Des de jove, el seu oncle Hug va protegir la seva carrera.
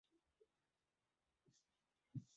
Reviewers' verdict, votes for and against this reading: rejected, 0, 3